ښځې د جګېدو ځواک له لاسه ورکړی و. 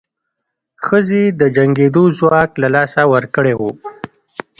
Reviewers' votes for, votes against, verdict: 1, 2, rejected